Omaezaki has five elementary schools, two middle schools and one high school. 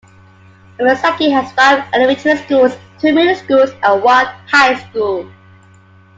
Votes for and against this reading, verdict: 2, 0, accepted